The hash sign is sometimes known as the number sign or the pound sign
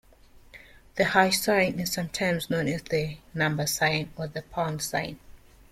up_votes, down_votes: 1, 2